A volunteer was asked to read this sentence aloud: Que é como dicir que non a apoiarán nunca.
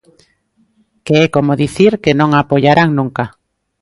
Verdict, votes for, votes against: accepted, 2, 0